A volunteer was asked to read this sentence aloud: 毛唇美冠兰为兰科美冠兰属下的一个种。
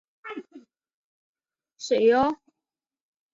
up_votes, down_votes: 1, 2